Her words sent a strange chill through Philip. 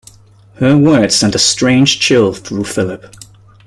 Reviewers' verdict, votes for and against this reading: accepted, 2, 0